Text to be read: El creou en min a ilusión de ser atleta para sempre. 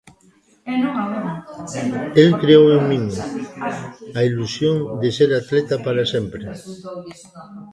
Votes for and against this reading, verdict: 0, 3, rejected